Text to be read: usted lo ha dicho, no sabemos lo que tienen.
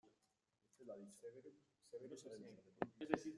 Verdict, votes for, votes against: rejected, 0, 2